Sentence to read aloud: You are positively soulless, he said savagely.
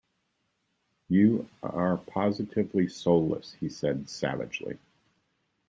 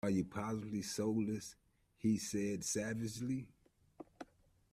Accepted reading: first